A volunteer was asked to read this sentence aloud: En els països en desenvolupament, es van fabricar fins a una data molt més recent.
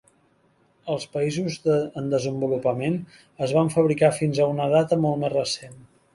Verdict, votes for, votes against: rejected, 0, 2